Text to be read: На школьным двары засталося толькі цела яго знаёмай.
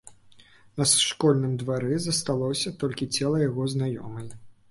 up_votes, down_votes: 2, 0